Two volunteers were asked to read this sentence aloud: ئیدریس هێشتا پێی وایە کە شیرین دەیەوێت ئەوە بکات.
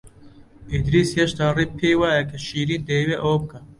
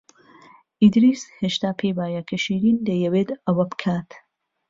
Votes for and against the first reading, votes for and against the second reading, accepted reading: 1, 2, 2, 0, second